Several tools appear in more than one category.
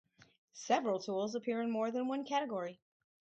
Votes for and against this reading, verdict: 4, 0, accepted